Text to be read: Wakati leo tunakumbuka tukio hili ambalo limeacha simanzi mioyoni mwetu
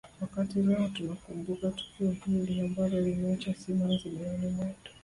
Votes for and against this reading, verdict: 1, 2, rejected